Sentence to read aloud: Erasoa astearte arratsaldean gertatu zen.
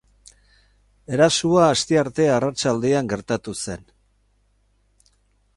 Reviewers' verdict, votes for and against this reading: accepted, 4, 0